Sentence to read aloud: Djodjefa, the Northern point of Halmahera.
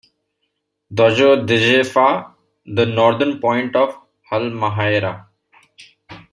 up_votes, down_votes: 0, 2